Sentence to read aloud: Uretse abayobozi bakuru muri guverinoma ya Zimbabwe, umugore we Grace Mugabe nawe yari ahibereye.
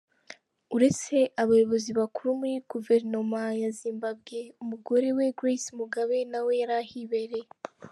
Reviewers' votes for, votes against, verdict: 4, 0, accepted